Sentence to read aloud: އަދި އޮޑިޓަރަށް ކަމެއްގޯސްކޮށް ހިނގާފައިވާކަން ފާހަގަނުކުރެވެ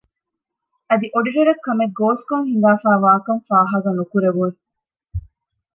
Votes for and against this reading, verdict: 0, 2, rejected